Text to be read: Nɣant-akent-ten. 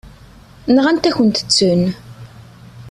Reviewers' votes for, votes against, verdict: 2, 1, accepted